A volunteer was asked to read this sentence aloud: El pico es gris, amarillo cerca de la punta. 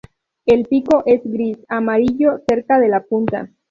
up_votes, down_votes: 2, 0